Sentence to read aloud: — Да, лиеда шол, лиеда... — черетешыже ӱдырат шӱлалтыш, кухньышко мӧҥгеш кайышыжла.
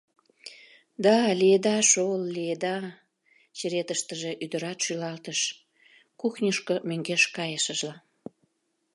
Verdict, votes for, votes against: rejected, 1, 2